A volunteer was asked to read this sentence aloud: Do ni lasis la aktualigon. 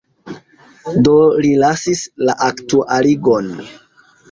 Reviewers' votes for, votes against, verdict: 2, 0, accepted